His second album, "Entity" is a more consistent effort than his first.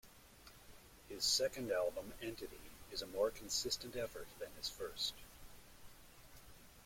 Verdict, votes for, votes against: rejected, 1, 2